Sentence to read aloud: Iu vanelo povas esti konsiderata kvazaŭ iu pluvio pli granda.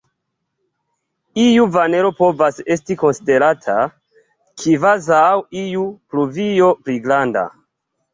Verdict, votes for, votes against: accepted, 2, 0